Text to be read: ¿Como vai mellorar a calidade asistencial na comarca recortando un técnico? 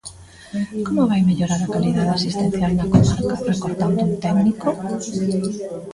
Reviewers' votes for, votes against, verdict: 2, 1, accepted